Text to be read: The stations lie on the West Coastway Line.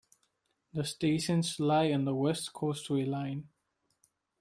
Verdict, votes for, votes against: accepted, 2, 0